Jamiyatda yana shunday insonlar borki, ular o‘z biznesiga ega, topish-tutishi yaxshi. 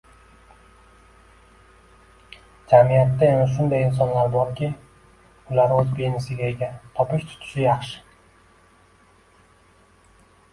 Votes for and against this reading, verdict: 2, 0, accepted